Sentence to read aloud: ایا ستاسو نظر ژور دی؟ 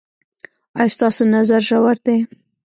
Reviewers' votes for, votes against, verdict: 2, 0, accepted